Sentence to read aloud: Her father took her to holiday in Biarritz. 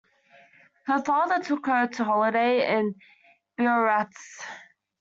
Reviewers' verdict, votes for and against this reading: rejected, 0, 2